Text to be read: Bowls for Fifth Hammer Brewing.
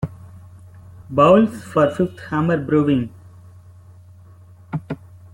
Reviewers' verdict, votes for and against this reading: rejected, 1, 2